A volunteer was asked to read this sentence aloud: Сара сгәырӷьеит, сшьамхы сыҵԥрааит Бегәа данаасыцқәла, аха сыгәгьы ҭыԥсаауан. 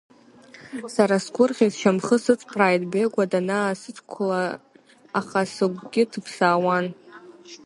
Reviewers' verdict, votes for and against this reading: rejected, 0, 2